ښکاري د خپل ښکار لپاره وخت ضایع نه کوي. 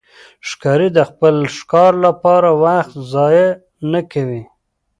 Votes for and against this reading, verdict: 2, 0, accepted